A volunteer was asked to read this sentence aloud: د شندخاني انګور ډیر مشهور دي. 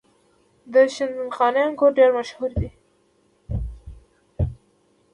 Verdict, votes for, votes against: accepted, 2, 0